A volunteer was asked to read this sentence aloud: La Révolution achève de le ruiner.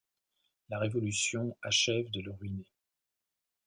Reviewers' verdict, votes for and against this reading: rejected, 1, 2